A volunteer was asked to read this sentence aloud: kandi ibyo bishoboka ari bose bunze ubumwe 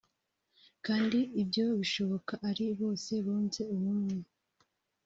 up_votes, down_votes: 0, 2